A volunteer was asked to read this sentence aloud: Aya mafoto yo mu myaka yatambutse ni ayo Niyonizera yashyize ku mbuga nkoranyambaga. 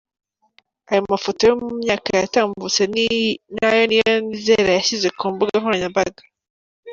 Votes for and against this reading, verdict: 2, 1, accepted